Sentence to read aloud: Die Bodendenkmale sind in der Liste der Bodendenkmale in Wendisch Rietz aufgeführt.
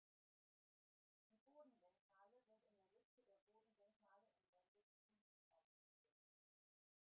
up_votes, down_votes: 0, 2